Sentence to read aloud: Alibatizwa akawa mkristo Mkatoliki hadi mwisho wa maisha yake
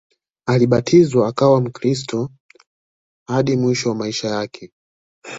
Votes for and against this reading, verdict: 1, 2, rejected